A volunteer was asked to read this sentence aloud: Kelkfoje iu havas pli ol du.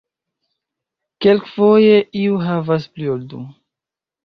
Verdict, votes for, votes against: rejected, 0, 2